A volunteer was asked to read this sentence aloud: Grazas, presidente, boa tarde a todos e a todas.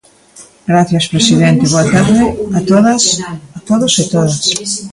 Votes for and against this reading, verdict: 0, 2, rejected